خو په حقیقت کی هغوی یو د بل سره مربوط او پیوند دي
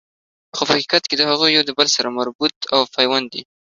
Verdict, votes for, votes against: accepted, 2, 0